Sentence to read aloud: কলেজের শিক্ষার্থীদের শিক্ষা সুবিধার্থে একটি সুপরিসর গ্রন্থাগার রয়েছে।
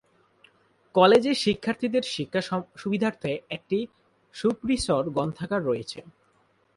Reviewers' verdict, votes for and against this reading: rejected, 0, 2